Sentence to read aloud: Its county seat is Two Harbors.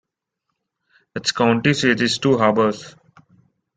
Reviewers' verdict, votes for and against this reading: rejected, 1, 2